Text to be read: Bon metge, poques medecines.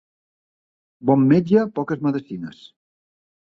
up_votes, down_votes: 3, 0